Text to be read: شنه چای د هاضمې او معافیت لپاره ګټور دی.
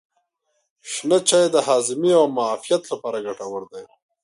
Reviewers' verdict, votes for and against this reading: rejected, 1, 2